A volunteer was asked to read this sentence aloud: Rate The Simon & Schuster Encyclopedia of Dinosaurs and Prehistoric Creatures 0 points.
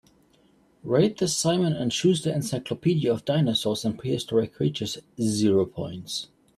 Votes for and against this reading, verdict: 0, 2, rejected